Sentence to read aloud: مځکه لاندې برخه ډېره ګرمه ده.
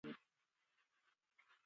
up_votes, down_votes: 0, 3